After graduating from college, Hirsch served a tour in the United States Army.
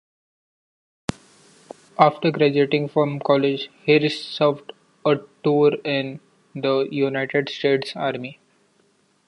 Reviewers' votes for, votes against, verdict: 1, 2, rejected